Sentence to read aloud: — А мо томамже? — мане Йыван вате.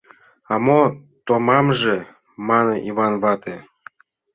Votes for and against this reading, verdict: 2, 0, accepted